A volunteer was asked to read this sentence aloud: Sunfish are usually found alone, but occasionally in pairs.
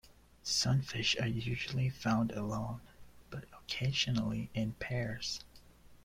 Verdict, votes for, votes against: rejected, 1, 2